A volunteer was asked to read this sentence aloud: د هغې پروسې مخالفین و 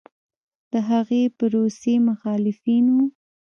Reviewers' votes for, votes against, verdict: 2, 0, accepted